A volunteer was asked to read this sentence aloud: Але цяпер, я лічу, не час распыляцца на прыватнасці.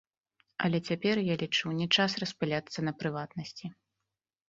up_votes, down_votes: 2, 1